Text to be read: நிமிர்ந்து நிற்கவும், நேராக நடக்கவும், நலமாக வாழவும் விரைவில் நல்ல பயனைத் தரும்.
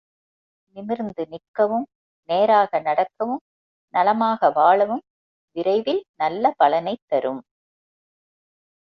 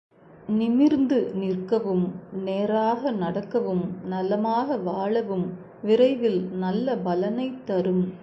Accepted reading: second